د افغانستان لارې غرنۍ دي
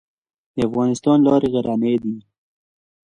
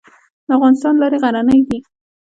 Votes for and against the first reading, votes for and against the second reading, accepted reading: 2, 0, 1, 2, first